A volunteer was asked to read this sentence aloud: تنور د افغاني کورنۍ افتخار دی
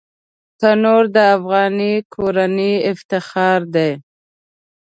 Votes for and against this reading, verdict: 2, 0, accepted